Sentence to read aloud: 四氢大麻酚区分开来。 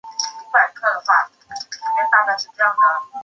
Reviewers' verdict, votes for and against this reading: rejected, 2, 4